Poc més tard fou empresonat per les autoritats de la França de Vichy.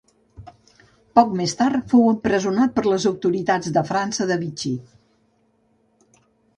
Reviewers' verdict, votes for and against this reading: rejected, 1, 2